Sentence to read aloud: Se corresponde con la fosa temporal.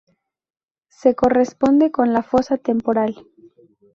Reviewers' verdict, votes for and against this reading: accepted, 4, 0